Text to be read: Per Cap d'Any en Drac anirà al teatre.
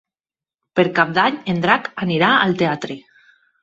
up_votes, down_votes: 6, 0